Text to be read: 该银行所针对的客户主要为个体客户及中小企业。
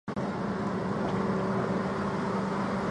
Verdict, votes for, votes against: rejected, 0, 2